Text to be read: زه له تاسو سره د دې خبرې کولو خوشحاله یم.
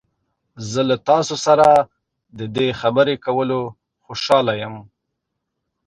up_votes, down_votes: 0, 2